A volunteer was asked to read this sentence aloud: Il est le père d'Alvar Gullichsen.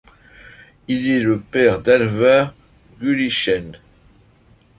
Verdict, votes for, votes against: accepted, 2, 1